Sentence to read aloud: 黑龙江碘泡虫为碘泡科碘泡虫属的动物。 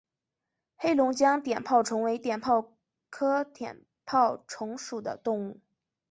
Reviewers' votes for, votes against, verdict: 2, 1, accepted